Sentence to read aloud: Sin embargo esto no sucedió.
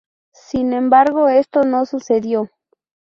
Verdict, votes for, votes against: rejected, 0, 2